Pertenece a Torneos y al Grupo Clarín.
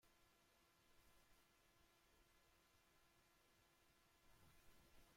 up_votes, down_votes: 0, 2